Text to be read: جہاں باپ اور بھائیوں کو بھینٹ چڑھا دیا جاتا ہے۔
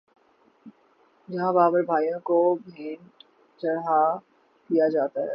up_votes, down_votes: 3, 3